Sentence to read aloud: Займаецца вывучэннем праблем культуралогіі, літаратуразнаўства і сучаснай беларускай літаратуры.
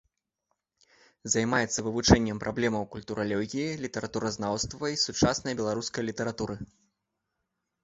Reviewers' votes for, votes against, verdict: 1, 3, rejected